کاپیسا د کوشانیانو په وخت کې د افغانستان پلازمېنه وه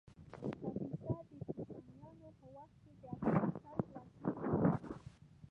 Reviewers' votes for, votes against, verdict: 0, 2, rejected